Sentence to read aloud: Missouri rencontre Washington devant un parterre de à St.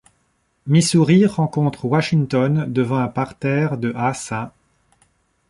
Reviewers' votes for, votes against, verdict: 2, 0, accepted